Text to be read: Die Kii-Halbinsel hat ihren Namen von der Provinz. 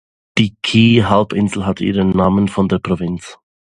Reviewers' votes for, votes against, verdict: 2, 0, accepted